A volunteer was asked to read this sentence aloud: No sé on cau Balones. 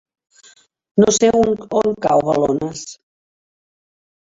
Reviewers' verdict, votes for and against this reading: rejected, 0, 2